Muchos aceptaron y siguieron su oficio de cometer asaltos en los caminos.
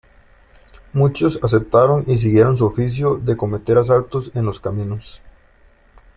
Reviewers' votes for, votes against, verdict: 2, 0, accepted